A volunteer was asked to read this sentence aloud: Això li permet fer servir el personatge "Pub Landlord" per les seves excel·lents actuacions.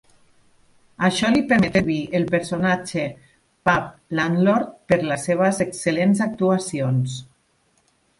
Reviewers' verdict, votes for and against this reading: rejected, 0, 2